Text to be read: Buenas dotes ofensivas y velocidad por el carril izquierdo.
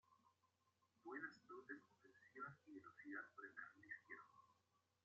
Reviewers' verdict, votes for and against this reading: rejected, 0, 2